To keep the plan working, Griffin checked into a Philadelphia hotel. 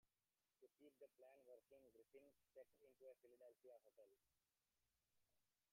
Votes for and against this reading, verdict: 1, 2, rejected